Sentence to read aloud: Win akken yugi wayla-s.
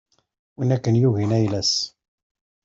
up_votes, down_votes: 1, 2